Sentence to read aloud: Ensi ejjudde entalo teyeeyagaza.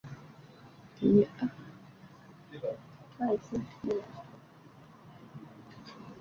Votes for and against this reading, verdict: 1, 2, rejected